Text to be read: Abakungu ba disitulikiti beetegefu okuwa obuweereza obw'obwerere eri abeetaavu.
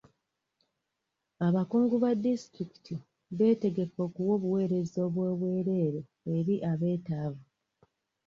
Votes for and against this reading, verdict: 2, 0, accepted